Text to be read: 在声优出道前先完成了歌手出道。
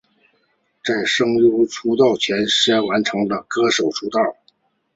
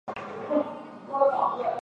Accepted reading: first